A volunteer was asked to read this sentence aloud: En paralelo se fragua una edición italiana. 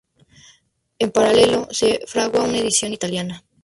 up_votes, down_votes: 0, 2